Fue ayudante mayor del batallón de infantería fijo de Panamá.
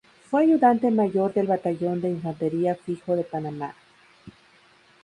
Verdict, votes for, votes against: accepted, 2, 0